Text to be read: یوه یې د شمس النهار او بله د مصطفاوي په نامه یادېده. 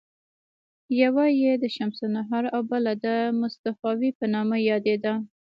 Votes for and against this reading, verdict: 1, 2, rejected